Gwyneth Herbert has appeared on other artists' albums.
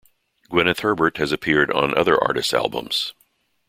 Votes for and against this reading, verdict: 2, 0, accepted